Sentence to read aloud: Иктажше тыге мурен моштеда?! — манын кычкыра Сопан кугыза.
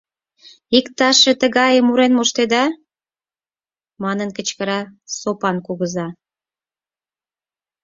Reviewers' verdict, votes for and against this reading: rejected, 2, 4